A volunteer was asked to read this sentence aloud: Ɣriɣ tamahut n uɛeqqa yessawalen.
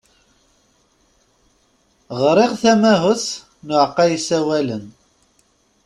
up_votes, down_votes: 0, 2